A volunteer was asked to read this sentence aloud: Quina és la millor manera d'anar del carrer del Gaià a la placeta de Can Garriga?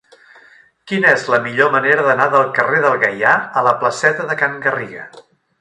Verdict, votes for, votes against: rejected, 2, 3